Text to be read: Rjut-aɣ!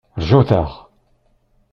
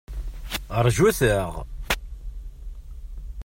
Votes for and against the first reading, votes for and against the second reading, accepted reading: 1, 2, 2, 0, second